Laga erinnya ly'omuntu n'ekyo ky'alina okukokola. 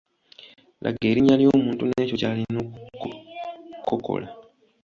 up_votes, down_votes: 2, 1